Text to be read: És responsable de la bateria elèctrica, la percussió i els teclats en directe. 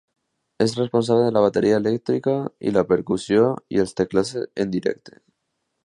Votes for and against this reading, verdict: 1, 2, rejected